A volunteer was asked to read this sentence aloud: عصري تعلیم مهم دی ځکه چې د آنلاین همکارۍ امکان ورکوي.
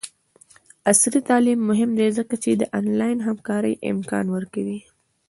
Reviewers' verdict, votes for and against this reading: accepted, 2, 0